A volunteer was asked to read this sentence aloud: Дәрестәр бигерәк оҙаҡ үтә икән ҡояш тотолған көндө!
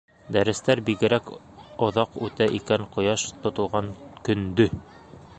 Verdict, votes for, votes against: accepted, 2, 1